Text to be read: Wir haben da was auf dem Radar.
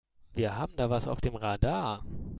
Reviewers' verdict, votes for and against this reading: accepted, 2, 0